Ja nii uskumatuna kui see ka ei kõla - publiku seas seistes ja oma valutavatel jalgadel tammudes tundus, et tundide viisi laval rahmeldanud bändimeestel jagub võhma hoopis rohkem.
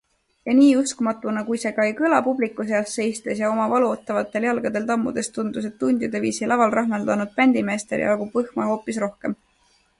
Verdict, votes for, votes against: accepted, 2, 0